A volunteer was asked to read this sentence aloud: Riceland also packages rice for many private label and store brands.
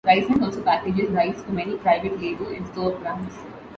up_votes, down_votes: 0, 2